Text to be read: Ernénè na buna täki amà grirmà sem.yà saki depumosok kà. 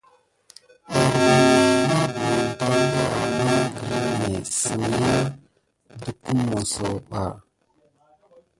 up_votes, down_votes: 0, 2